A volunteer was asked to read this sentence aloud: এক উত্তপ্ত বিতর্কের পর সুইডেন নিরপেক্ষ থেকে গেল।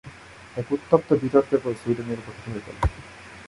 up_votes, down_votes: 0, 2